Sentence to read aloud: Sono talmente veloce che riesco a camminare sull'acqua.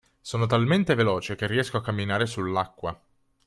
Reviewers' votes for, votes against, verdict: 3, 0, accepted